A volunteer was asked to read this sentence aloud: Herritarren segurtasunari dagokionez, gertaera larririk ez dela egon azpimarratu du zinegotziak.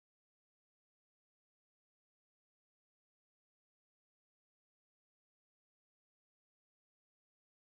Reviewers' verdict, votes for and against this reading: rejected, 0, 3